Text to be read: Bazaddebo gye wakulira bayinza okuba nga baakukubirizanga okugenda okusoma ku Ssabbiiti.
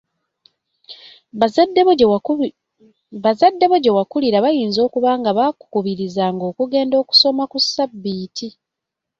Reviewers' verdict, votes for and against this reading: rejected, 0, 2